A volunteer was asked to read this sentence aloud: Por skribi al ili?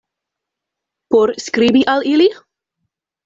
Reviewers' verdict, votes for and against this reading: accepted, 2, 0